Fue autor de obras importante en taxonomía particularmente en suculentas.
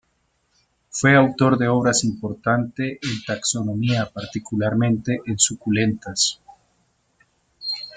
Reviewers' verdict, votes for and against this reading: accepted, 2, 0